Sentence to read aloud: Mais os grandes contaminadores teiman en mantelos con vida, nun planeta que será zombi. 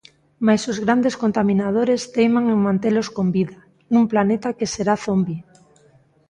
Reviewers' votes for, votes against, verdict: 2, 0, accepted